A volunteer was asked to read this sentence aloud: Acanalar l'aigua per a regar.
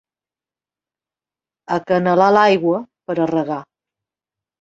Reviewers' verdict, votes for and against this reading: accepted, 3, 0